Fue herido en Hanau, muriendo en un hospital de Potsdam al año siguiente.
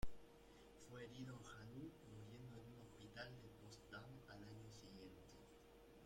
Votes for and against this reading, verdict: 0, 2, rejected